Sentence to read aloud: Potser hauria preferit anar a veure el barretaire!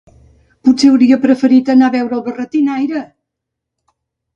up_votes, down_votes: 0, 2